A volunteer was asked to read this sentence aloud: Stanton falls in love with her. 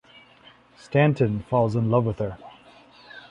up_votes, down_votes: 2, 0